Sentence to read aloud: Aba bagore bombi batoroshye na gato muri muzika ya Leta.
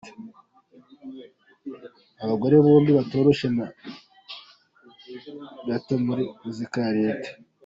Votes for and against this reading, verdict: 0, 2, rejected